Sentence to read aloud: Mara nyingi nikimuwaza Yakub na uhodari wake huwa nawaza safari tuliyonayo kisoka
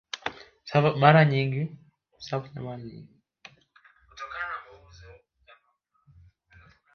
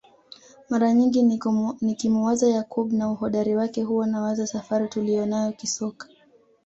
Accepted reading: second